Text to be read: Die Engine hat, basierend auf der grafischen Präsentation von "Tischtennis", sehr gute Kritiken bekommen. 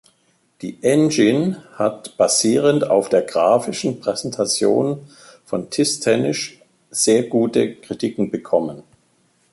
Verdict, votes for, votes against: rejected, 1, 2